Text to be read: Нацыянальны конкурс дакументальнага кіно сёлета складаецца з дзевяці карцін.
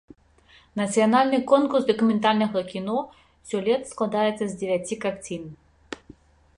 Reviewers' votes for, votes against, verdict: 1, 2, rejected